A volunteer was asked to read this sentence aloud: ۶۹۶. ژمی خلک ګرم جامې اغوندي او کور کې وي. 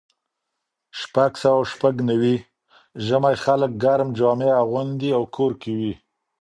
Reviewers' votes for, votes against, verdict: 0, 2, rejected